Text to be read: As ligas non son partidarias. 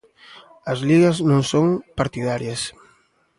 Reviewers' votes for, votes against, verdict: 2, 0, accepted